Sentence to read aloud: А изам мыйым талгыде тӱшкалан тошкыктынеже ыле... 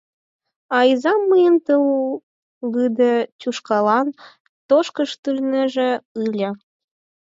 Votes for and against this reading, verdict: 0, 4, rejected